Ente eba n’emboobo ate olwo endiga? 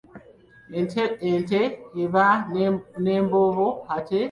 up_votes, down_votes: 0, 2